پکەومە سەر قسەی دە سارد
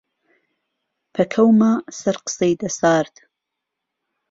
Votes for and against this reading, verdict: 1, 2, rejected